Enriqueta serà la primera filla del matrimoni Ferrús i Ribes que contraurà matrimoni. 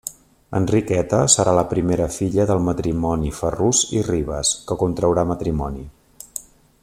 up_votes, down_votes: 3, 0